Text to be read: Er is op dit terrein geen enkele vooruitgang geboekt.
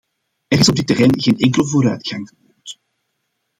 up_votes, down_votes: 1, 2